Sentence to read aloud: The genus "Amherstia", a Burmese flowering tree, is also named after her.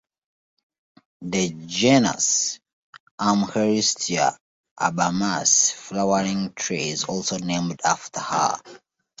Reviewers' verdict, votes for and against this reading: rejected, 1, 2